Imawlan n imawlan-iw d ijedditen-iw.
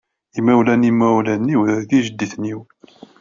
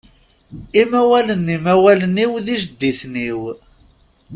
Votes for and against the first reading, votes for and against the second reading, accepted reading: 2, 1, 1, 2, first